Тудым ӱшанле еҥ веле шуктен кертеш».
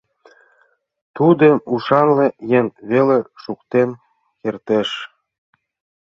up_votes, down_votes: 0, 2